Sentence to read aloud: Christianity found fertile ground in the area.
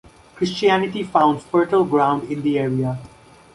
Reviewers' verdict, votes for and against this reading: accepted, 2, 0